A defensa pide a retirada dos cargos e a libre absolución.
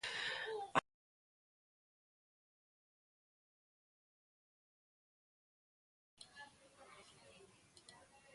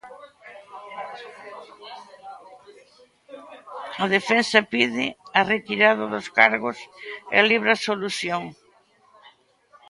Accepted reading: second